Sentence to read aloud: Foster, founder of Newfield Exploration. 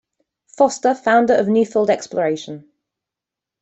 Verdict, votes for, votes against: accepted, 2, 0